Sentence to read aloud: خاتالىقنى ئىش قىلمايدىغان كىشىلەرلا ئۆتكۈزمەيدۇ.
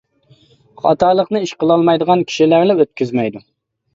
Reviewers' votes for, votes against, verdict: 1, 2, rejected